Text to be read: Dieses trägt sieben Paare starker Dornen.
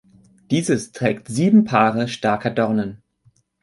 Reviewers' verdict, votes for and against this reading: accepted, 2, 0